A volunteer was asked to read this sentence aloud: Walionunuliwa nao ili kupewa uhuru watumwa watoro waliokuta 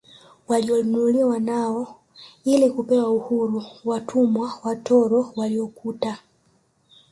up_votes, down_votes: 2, 0